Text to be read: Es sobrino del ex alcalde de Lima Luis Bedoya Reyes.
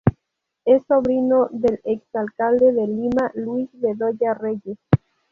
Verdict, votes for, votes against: rejected, 0, 2